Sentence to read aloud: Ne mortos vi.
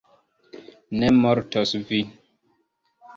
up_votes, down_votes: 2, 0